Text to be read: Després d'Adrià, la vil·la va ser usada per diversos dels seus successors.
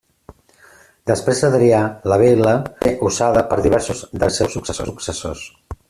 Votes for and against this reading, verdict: 0, 2, rejected